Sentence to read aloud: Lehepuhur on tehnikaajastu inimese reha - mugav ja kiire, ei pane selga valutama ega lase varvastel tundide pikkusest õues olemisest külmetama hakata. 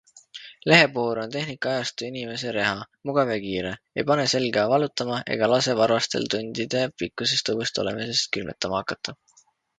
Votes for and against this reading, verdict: 2, 0, accepted